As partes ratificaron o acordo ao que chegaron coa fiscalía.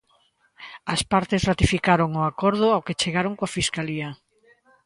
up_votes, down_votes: 2, 0